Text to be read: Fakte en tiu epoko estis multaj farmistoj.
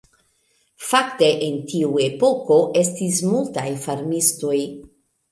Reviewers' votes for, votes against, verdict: 1, 2, rejected